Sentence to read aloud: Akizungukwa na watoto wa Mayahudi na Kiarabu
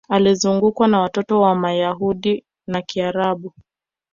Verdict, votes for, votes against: accepted, 2, 0